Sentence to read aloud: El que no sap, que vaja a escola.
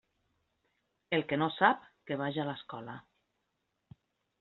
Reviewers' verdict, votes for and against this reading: rejected, 0, 2